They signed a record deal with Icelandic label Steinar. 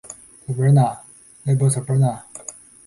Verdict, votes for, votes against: rejected, 0, 2